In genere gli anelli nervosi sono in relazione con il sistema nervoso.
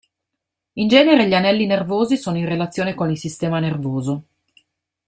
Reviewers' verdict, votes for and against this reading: accepted, 2, 0